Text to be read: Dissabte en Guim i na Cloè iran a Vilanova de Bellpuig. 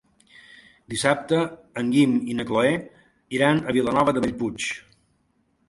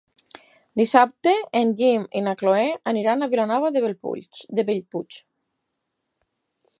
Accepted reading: first